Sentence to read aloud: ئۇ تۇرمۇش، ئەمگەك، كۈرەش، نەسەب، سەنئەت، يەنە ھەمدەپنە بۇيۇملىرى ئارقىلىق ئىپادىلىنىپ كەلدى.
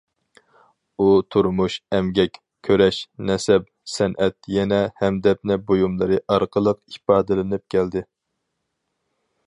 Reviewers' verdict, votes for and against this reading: accepted, 4, 0